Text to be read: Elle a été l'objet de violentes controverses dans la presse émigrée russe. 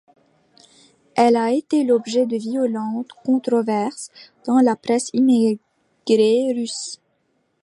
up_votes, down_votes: 2, 0